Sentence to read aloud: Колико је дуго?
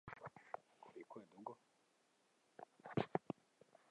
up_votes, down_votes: 0, 2